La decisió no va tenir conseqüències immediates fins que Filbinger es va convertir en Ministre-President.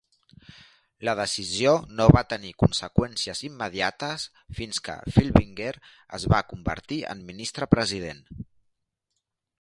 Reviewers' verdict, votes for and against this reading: accepted, 2, 0